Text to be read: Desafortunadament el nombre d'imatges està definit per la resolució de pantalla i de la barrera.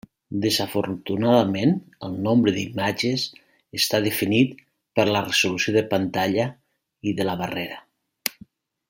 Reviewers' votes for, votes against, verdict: 3, 0, accepted